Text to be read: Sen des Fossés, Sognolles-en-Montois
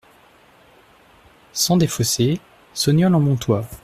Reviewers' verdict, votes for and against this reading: accepted, 2, 1